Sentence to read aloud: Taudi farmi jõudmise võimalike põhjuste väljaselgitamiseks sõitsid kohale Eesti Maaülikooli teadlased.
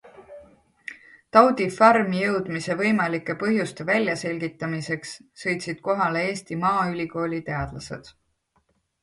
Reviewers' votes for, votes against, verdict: 2, 0, accepted